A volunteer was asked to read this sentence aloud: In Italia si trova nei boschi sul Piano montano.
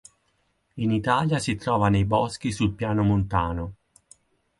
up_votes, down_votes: 6, 0